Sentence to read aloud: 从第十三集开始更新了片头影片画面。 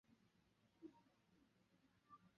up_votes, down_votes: 0, 2